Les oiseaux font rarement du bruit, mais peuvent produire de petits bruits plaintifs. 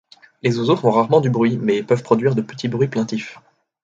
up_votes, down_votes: 2, 0